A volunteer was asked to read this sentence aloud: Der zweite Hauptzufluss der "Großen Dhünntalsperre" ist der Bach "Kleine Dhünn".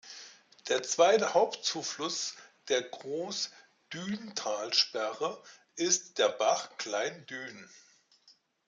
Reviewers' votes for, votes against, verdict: 0, 2, rejected